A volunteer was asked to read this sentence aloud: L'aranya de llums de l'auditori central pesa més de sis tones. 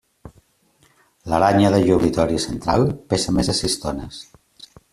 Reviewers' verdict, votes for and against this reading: rejected, 0, 2